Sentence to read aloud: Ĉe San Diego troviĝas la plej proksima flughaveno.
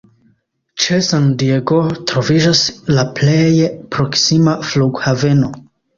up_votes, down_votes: 1, 2